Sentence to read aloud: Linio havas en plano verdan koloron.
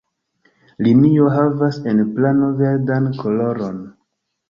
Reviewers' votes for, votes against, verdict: 2, 1, accepted